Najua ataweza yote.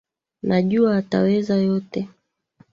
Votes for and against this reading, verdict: 0, 2, rejected